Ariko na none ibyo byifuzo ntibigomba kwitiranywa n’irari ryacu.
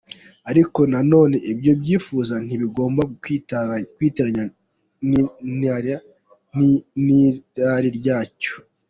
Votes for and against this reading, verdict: 0, 2, rejected